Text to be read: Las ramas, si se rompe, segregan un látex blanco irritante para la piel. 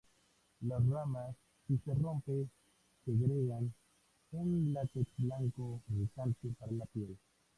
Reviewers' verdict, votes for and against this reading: rejected, 0, 2